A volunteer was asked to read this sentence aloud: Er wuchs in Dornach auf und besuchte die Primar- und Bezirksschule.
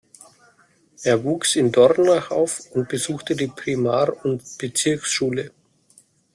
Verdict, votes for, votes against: accepted, 2, 0